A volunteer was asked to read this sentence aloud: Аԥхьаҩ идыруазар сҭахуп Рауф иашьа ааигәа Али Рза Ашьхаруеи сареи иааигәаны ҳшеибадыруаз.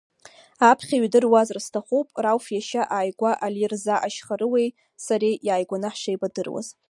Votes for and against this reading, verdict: 0, 2, rejected